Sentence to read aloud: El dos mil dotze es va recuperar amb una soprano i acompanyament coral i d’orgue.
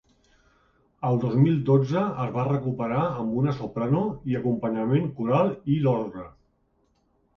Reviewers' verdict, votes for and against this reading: accepted, 3, 2